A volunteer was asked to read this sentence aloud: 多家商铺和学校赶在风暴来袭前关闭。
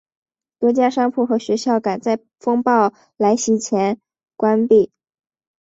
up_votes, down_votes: 4, 0